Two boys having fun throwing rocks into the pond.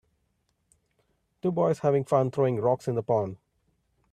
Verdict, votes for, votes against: rejected, 1, 2